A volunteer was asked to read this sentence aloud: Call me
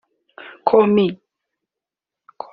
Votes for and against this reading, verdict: 2, 0, accepted